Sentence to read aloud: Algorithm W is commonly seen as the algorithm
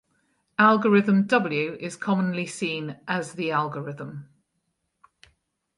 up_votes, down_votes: 4, 0